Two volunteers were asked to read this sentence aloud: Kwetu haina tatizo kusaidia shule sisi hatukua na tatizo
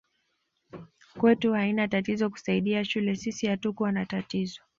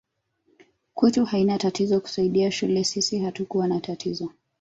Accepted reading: first